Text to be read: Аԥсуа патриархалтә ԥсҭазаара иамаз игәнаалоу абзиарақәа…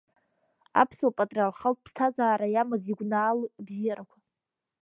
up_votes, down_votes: 1, 2